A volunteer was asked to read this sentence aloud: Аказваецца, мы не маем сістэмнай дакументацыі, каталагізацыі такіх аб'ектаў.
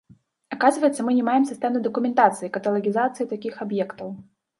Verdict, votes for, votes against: accepted, 2, 0